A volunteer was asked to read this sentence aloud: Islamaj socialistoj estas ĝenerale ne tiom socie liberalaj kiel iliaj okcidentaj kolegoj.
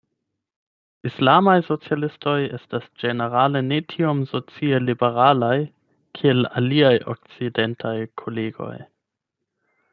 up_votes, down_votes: 0, 8